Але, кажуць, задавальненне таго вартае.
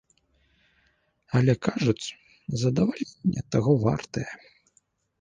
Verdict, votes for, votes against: rejected, 1, 2